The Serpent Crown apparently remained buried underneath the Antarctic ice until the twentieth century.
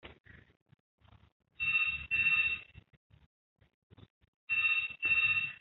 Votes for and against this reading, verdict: 0, 2, rejected